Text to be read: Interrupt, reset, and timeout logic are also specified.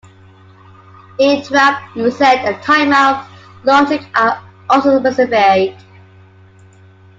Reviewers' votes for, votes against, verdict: 1, 2, rejected